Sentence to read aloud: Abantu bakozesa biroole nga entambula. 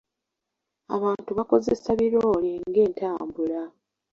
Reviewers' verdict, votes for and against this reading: rejected, 1, 2